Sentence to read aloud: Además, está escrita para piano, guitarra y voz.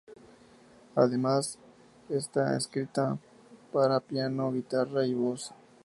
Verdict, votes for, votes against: accepted, 4, 0